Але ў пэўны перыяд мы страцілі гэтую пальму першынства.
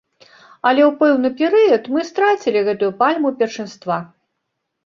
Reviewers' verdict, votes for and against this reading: rejected, 0, 2